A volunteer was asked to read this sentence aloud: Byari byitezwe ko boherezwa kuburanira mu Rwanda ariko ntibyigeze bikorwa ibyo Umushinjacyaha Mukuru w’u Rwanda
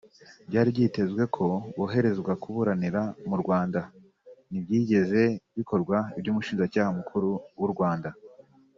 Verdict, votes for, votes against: rejected, 1, 2